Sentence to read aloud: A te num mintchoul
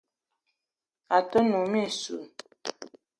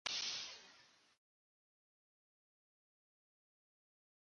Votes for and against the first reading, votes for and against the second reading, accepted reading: 2, 0, 1, 2, first